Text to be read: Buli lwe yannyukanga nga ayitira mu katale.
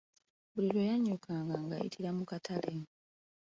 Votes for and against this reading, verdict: 0, 2, rejected